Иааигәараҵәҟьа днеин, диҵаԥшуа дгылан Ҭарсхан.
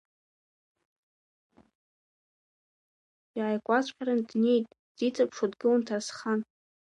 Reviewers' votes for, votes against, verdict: 1, 2, rejected